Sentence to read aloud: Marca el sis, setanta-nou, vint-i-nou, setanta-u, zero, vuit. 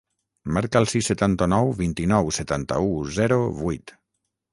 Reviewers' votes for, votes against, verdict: 6, 0, accepted